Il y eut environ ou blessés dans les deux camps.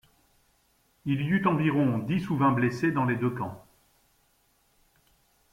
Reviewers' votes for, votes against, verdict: 0, 2, rejected